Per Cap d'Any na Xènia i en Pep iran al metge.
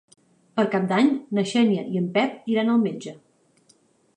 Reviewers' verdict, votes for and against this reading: accepted, 3, 0